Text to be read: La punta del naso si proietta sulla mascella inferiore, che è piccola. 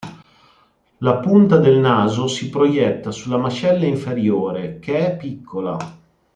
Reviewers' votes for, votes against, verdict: 2, 0, accepted